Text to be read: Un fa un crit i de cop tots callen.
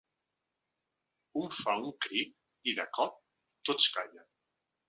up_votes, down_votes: 2, 0